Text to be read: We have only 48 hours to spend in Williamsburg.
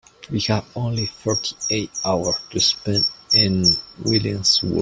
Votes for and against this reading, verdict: 0, 2, rejected